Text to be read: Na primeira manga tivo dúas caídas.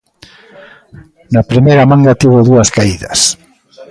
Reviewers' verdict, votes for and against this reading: rejected, 0, 2